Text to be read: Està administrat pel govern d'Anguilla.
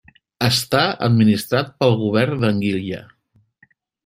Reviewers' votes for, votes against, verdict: 0, 2, rejected